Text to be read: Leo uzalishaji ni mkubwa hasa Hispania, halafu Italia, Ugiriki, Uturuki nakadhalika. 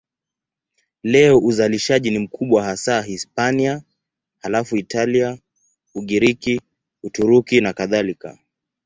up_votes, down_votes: 2, 0